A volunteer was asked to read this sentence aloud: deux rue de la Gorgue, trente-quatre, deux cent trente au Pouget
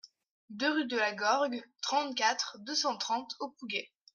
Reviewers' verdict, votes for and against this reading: rejected, 1, 2